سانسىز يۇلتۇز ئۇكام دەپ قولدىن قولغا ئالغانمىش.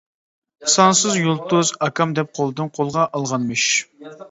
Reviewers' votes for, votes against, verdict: 1, 2, rejected